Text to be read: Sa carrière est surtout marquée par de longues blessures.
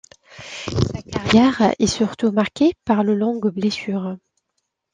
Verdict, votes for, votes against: rejected, 1, 2